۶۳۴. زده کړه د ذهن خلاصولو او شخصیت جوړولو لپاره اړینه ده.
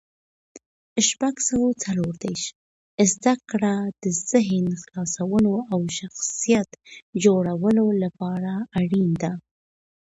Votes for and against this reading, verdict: 0, 2, rejected